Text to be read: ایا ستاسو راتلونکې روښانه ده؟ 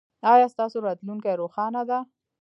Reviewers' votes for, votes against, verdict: 0, 2, rejected